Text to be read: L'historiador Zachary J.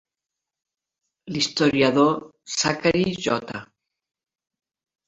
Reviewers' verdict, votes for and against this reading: accepted, 4, 0